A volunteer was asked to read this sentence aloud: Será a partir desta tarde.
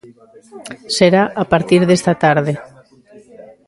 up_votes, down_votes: 2, 0